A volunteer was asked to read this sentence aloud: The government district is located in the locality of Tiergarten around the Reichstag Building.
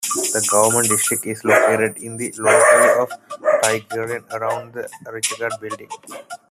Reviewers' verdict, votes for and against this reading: rejected, 0, 2